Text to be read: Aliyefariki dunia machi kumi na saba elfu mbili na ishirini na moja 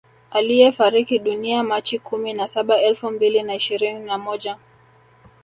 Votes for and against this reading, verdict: 2, 0, accepted